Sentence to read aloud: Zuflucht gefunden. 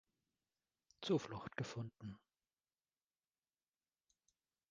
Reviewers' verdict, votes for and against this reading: accepted, 2, 0